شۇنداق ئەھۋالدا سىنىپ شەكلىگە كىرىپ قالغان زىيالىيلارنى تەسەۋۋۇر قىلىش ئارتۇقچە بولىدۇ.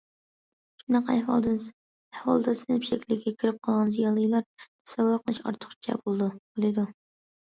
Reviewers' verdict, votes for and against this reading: rejected, 0, 2